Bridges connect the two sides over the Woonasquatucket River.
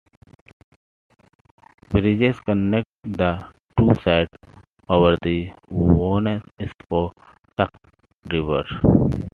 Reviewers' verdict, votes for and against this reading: rejected, 1, 2